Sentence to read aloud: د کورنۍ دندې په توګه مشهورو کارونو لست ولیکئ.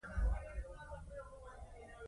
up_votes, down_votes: 0, 2